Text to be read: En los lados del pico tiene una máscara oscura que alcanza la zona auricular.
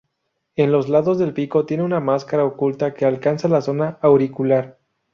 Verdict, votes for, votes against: rejected, 2, 2